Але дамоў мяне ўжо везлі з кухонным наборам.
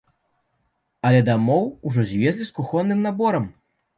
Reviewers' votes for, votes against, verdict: 0, 2, rejected